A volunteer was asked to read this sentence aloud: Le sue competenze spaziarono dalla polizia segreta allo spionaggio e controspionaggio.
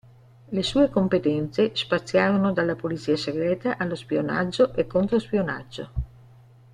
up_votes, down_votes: 2, 0